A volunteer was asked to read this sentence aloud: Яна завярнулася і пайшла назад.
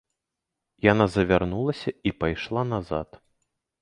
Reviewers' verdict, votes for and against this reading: accepted, 2, 0